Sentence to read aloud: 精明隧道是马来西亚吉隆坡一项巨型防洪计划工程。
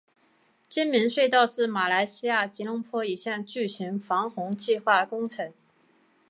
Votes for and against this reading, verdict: 2, 0, accepted